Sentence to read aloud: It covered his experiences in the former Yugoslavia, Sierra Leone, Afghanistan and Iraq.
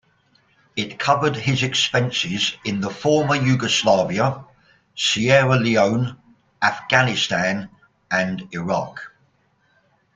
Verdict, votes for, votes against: rejected, 1, 2